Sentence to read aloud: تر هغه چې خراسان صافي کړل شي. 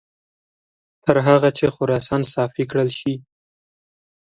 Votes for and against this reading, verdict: 2, 0, accepted